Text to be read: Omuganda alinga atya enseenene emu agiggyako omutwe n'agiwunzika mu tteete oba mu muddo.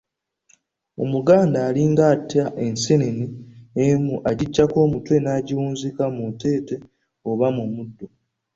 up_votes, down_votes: 1, 2